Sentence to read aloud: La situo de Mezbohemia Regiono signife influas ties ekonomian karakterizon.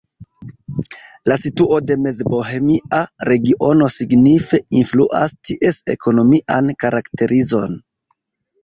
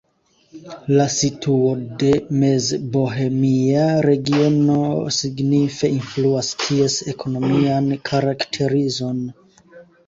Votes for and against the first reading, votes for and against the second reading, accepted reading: 1, 2, 2, 0, second